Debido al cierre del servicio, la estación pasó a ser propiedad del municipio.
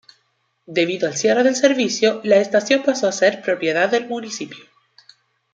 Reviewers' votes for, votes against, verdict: 2, 0, accepted